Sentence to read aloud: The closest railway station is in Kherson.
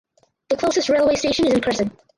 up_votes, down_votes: 2, 4